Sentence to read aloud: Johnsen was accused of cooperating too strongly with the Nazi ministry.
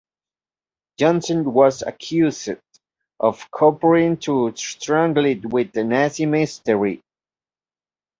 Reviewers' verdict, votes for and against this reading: rejected, 0, 2